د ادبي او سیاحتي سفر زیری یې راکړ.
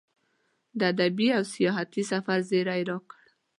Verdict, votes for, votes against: accepted, 2, 0